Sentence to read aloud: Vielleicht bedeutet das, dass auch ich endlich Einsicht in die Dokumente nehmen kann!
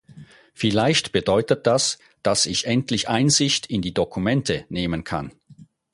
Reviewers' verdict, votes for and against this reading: rejected, 0, 4